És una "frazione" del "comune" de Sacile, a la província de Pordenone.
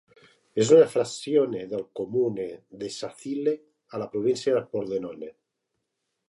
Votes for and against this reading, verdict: 2, 1, accepted